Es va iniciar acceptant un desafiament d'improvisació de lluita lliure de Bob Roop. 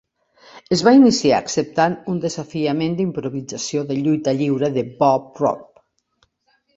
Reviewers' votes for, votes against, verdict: 2, 0, accepted